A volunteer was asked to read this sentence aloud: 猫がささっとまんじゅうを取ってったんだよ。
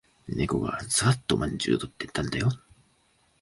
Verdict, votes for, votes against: accepted, 2, 0